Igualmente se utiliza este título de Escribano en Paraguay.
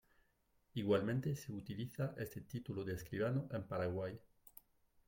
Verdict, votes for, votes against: rejected, 1, 2